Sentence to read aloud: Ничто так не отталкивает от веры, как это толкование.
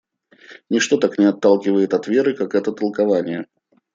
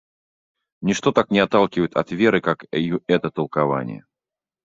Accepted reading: first